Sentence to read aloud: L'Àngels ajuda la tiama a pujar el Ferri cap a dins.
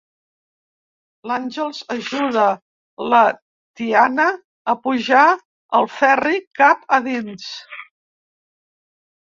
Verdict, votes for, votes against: rejected, 1, 2